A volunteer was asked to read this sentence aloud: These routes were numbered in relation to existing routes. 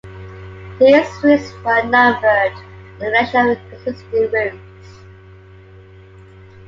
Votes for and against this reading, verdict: 1, 2, rejected